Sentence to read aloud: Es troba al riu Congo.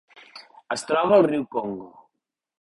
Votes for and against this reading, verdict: 2, 0, accepted